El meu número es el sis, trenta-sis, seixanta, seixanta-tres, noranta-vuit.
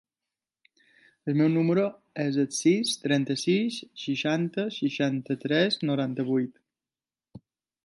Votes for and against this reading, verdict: 3, 0, accepted